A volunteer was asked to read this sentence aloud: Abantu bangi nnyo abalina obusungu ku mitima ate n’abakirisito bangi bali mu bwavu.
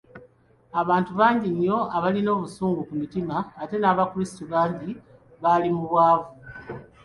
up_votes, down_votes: 0, 2